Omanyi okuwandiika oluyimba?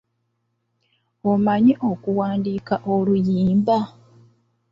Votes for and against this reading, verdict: 3, 0, accepted